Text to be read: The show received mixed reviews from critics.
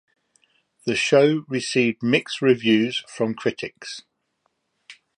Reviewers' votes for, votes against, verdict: 2, 0, accepted